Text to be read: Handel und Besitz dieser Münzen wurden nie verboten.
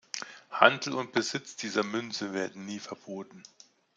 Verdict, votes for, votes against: rejected, 0, 2